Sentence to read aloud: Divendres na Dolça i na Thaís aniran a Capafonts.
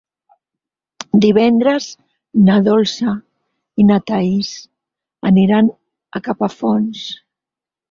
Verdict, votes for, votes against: accepted, 6, 0